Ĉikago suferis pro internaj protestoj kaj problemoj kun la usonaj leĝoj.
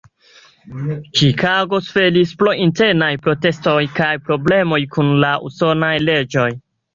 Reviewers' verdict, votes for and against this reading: accepted, 2, 0